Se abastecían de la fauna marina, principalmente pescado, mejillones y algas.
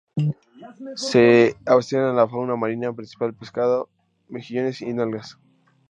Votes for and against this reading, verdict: 0, 2, rejected